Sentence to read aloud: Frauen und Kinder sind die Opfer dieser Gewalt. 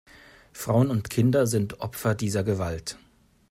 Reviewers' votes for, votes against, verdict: 1, 2, rejected